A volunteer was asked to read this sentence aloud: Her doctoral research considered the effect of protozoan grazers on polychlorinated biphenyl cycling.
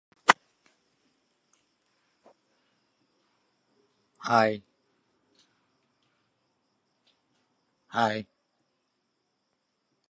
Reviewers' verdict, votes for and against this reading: rejected, 0, 2